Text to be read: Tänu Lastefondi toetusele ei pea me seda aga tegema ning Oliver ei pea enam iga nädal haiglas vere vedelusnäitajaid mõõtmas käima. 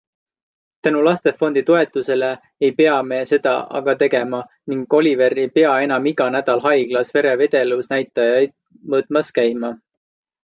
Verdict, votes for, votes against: accepted, 2, 0